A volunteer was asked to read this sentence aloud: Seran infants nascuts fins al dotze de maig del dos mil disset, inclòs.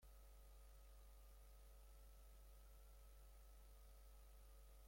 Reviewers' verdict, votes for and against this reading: rejected, 0, 2